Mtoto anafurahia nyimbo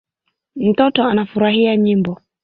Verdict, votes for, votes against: accepted, 2, 1